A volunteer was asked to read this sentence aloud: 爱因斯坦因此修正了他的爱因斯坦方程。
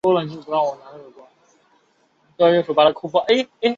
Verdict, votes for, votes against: rejected, 0, 4